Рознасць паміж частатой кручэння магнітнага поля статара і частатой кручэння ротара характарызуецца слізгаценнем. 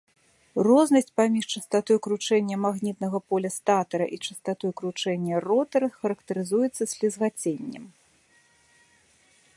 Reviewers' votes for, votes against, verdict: 2, 0, accepted